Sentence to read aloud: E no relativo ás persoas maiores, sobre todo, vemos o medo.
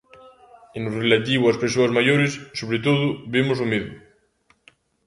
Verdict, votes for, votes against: rejected, 1, 2